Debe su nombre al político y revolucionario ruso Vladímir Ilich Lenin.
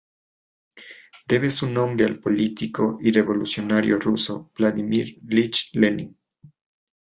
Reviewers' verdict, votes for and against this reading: accepted, 2, 0